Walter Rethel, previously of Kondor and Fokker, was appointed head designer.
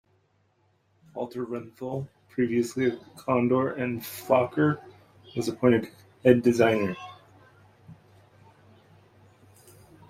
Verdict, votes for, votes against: accepted, 2, 1